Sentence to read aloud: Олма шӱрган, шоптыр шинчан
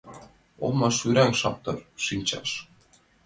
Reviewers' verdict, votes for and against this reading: rejected, 1, 2